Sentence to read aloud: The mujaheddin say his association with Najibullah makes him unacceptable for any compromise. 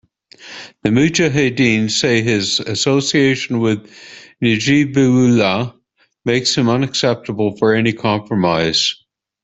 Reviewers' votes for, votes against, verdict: 0, 2, rejected